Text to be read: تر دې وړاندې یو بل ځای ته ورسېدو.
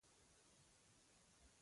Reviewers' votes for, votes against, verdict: 0, 2, rejected